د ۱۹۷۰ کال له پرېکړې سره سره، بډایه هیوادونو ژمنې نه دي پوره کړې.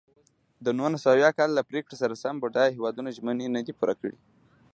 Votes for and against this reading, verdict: 0, 2, rejected